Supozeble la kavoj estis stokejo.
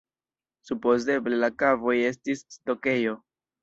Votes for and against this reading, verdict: 1, 2, rejected